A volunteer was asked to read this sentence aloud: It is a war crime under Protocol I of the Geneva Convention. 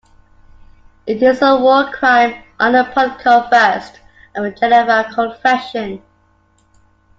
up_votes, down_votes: 2, 0